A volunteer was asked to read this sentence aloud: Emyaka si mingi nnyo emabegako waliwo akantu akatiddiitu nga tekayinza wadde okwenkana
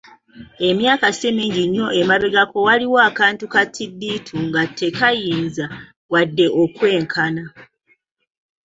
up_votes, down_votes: 1, 2